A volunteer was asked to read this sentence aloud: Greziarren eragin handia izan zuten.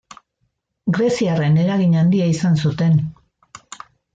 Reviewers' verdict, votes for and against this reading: accepted, 2, 0